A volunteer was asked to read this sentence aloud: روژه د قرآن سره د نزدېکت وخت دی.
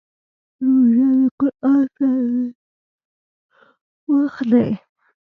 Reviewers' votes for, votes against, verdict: 1, 2, rejected